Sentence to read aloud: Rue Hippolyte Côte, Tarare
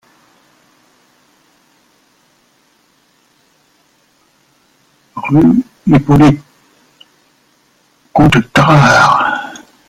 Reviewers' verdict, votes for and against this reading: rejected, 0, 2